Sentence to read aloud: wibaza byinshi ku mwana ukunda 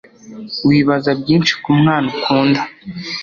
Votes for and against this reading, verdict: 2, 0, accepted